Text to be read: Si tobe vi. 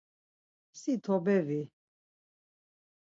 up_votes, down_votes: 4, 0